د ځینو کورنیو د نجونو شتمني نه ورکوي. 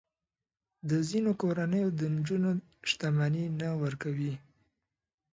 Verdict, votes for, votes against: accepted, 7, 1